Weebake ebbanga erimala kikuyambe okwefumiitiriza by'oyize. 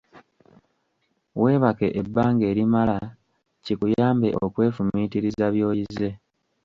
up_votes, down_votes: 1, 2